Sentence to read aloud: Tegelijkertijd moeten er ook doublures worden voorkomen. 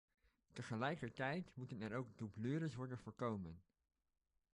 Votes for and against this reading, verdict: 1, 2, rejected